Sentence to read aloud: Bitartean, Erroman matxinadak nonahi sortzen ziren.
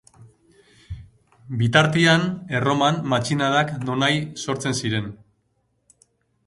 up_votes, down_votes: 0, 2